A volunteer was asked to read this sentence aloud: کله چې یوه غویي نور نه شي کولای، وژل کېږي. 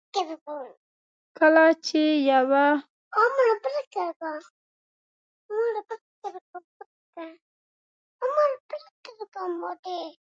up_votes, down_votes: 0, 3